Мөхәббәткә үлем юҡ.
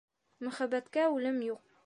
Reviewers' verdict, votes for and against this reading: accepted, 2, 0